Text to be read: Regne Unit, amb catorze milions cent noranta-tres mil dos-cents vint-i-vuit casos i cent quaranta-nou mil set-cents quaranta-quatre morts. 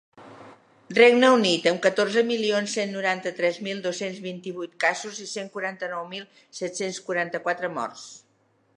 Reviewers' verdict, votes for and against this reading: accepted, 3, 0